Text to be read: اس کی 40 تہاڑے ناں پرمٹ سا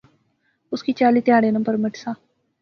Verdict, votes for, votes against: rejected, 0, 2